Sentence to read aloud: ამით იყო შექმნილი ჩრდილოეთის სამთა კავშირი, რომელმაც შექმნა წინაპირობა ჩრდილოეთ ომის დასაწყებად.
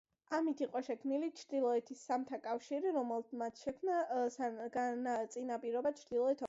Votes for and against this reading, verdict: 0, 2, rejected